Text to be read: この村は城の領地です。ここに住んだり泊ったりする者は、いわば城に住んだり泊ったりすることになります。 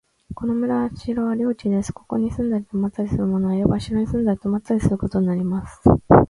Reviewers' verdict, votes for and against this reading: accepted, 2, 0